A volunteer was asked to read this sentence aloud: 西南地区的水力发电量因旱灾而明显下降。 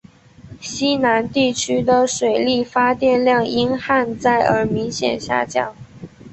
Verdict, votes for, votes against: accepted, 2, 1